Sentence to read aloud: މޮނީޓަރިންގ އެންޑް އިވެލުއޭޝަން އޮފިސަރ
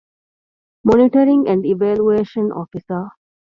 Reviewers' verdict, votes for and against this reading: accepted, 2, 0